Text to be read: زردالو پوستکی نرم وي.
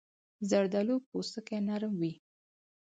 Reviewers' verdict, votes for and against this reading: accepted, 4, 2